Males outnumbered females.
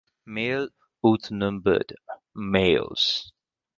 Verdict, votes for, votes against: rejected, 0, 4